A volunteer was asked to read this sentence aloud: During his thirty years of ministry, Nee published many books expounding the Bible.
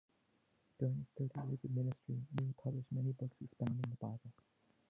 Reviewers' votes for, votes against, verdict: 0, 2, rejected